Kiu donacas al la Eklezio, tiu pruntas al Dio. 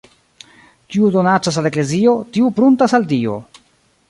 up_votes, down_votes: 1, 2